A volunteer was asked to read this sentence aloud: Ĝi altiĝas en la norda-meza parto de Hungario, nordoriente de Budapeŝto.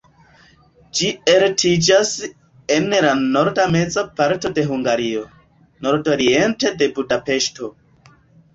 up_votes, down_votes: 1, 2